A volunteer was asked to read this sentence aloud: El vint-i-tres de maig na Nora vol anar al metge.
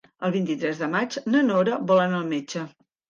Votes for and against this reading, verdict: 3, 0, accepted